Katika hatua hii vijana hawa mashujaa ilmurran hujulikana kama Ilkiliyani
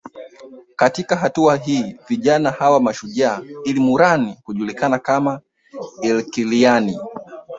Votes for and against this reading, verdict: 1, 2, rejected